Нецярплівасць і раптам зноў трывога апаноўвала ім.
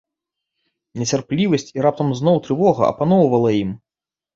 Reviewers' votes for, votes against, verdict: 2, 0, accepted